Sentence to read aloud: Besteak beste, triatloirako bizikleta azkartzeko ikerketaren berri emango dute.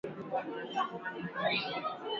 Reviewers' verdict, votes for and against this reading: rejected, 0, 2